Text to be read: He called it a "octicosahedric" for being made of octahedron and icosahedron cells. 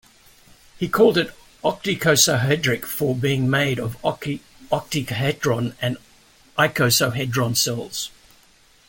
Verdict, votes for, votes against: rejected, 1, 2